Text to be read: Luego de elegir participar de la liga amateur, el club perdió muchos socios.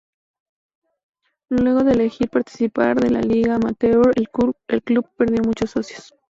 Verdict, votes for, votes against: accepted, 2, 0